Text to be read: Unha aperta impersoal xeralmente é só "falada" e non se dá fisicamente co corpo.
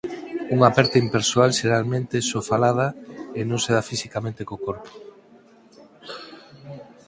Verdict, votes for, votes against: rejected, 0, 4